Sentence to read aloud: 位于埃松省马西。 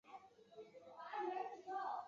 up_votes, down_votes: 1, 2